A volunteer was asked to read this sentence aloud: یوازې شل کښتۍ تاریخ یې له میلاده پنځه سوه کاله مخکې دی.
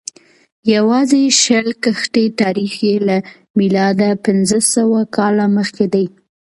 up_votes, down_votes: 0, 2